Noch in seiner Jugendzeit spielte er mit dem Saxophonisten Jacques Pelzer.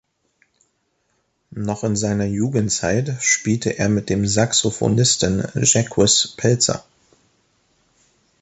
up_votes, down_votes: 0, 2